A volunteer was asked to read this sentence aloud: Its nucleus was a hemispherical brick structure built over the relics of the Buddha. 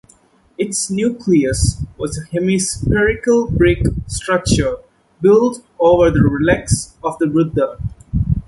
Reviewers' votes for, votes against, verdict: 0, 2, rejected